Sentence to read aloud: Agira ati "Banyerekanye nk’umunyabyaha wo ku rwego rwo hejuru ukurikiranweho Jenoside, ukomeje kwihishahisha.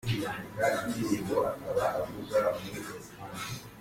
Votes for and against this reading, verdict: 0, 2, rejected